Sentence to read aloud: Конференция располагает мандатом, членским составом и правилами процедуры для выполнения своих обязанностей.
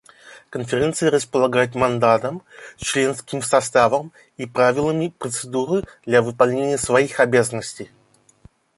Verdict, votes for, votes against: accepted, 2, 0